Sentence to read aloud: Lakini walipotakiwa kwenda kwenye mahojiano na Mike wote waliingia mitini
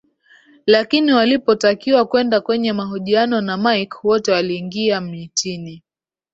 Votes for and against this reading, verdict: 2, 0, accepted